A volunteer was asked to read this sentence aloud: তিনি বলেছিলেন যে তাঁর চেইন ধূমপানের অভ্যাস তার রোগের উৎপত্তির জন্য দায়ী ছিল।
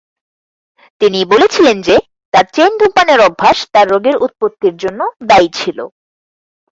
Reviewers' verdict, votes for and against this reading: accepted, 4, 0